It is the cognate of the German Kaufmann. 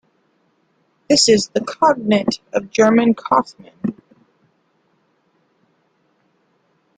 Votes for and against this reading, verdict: 1, 2, rejected